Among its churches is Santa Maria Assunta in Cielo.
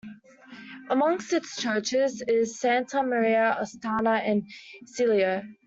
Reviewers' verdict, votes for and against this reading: rejected, 0, 2